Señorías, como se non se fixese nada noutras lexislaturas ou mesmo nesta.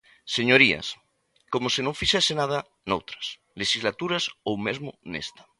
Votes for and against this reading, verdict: 1, 2, rejected